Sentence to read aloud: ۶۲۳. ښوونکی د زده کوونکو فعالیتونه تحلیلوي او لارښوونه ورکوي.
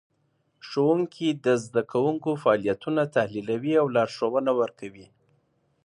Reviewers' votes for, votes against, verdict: 0, 2, rejected